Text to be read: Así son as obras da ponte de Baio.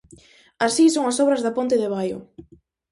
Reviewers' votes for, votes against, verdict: 4, 0, accepted